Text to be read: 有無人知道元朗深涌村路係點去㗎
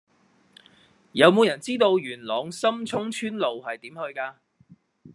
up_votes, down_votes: 2, 0